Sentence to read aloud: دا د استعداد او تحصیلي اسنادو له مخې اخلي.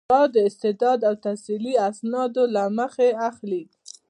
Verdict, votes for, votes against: accepted, 2, 0